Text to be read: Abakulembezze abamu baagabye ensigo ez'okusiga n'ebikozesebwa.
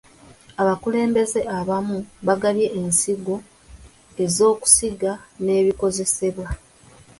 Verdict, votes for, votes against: rejected, 1, 2